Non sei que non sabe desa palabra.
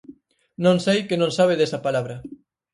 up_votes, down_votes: 4, 0